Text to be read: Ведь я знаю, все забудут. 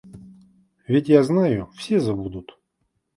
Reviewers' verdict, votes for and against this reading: accepted, 2, 0